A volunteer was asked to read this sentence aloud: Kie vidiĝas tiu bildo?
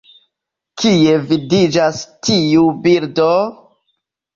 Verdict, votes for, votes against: accepted, 2, 0